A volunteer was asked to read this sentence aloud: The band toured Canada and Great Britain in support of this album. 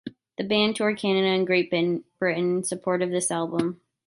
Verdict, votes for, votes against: rejected, 0, 2